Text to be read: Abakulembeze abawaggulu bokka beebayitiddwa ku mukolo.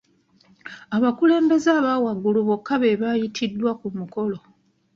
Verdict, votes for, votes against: accepted, 2, 0